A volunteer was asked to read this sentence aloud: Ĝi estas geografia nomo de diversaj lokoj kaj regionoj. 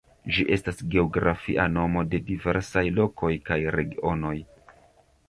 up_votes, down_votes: 1, 2